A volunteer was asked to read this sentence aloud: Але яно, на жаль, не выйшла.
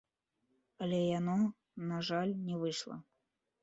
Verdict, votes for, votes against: rejected, 1, 2